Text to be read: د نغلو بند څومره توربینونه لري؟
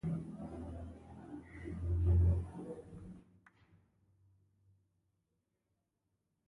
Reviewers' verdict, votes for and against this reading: rejected, 1, 2